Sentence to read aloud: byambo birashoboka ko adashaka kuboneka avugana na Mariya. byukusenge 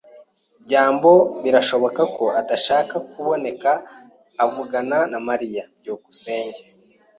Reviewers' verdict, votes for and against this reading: accepted, 2, 0